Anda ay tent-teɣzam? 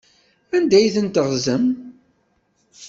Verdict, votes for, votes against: accepted, 2, 0